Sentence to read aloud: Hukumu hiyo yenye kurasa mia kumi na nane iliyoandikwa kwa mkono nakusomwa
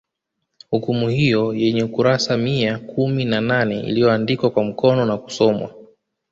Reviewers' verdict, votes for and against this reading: rejected, 1, 2